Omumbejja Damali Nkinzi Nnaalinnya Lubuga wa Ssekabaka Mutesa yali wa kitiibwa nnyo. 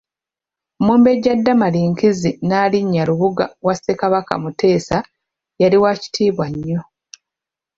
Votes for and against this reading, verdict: 0, 2, rejected